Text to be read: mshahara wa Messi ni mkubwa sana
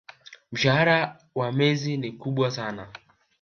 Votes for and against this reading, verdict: 1, 2, rejected